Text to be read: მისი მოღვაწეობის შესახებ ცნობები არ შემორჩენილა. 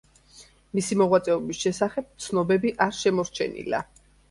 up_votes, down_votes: 2, 0